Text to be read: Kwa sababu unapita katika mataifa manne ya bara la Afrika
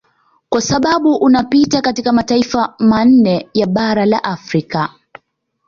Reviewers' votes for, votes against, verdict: 2, 0, accepted